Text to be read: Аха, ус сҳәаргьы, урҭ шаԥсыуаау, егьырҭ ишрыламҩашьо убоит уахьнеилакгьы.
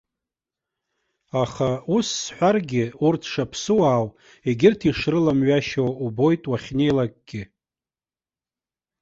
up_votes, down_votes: 2, 0